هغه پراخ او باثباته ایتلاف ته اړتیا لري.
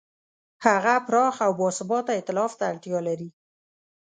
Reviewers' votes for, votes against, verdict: 2, 0, accepted